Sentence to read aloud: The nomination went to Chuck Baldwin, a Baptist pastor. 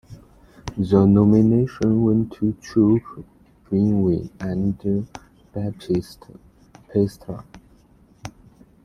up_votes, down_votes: 0, 2